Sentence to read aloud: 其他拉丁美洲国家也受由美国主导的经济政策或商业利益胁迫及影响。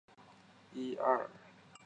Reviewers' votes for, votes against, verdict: 0, 3, rejected